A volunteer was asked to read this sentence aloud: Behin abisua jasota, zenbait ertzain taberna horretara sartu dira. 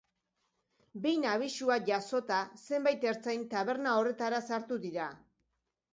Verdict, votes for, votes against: accepted, 2, 0